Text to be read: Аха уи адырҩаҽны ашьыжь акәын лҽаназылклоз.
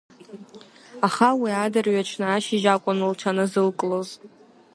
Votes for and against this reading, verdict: 2, 0, accepted